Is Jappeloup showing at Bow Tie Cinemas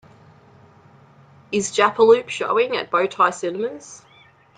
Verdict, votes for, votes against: accepted, 2, 0